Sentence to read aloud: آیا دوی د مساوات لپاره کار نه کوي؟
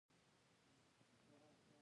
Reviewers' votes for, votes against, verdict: 0, 2, rejected